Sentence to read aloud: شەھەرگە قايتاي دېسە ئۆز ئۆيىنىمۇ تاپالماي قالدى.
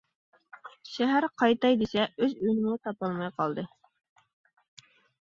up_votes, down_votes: 0, 2